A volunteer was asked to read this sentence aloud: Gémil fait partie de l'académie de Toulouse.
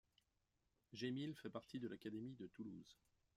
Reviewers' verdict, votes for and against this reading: rejected, 1, 2